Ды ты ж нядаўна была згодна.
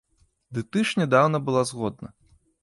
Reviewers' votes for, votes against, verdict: 0, 2, rejected